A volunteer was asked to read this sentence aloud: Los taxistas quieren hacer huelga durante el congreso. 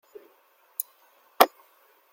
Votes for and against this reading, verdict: 0, 2, rejected